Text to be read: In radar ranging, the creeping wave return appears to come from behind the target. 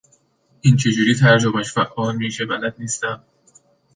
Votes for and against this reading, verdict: 1, 2, rejected